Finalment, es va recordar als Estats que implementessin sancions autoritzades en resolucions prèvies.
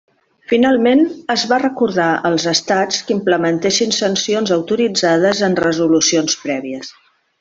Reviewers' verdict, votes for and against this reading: accepted, 3, 1